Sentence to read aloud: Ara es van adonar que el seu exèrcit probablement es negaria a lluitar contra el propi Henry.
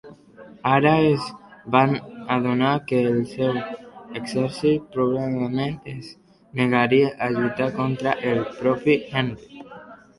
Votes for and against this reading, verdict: 1, 2, rejected